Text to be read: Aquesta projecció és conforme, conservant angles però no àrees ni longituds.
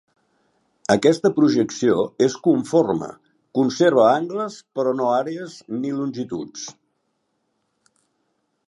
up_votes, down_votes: 0, 2